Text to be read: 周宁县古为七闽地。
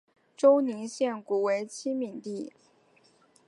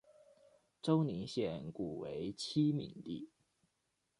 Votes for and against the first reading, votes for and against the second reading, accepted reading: 3, 0, 0, 2, first